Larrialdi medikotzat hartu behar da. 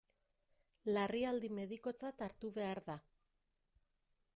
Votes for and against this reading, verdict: 2, 0, accepted